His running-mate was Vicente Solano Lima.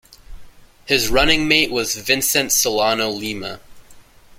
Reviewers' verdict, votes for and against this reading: accepted, 2, 0